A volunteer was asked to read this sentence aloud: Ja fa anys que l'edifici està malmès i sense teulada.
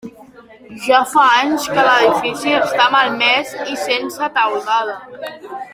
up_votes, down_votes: 1, 2